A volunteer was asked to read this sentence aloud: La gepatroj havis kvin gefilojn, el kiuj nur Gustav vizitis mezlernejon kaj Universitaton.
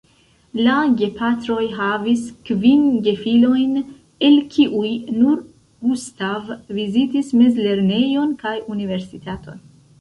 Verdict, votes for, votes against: accepted, 2, 0